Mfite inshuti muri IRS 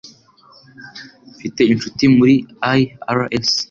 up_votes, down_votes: 3, 0